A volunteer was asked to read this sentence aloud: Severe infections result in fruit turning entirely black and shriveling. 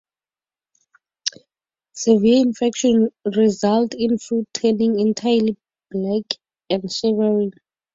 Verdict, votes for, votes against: rejected, 0, 4